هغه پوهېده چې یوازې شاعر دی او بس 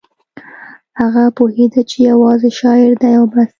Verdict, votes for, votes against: accepted, 2, 0